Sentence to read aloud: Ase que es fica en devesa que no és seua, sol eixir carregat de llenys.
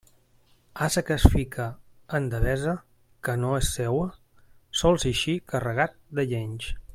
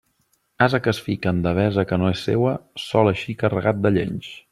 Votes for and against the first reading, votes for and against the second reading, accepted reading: 0, 2, 2, 0, second